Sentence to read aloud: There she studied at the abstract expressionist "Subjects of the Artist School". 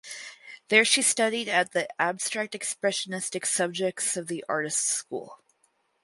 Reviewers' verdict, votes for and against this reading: rejected, 4, 4